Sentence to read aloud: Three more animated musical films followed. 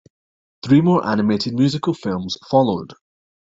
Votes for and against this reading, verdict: 2, 0, accepted